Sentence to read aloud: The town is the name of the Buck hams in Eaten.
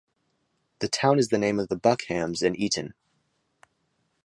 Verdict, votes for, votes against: accepted, 2, 0